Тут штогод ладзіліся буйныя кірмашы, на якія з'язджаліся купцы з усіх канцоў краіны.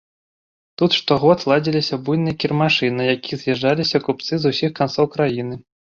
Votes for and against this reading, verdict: 1, 2, rejected